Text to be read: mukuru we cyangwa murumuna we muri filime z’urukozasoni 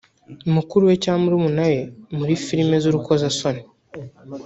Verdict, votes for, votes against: accepted, 2, 0